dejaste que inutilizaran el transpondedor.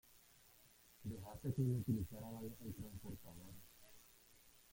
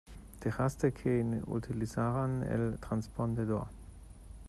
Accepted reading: second